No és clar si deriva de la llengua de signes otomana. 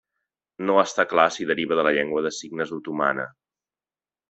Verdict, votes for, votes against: rejected, 0, 2